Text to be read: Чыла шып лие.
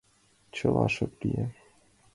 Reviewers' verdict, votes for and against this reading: accepted, 2, 0